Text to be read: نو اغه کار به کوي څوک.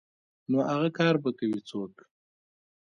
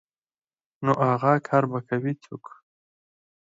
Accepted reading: second